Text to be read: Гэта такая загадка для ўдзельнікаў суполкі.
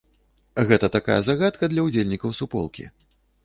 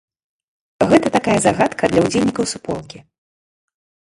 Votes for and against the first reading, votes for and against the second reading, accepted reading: 2, 0, 1, 2, first